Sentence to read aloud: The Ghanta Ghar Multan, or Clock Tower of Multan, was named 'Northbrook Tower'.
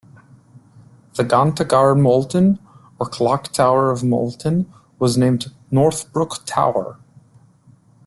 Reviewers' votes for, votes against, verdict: 1, 2, rejected